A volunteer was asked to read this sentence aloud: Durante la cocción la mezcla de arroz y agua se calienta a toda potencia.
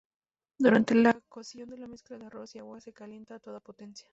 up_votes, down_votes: 0, 2